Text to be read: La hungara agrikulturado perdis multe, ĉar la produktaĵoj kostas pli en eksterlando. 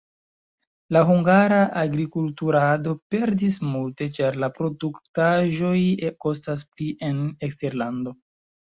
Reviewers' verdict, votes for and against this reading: accepted, 2, 1